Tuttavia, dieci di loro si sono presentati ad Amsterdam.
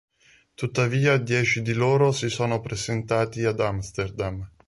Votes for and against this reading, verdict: 3, 0, accepted